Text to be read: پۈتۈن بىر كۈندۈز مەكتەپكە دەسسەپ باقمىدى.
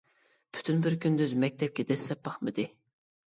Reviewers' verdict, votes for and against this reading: accepted, 2, 0